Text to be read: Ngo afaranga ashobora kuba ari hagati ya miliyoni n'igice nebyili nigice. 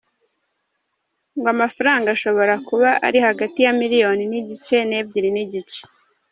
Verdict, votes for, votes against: accepted, 3, 1